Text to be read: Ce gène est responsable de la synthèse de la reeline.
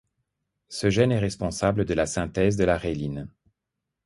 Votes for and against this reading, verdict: 2, 0, accepted